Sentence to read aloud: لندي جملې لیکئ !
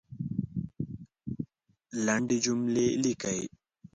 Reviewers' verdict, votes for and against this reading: accepted, 2, 1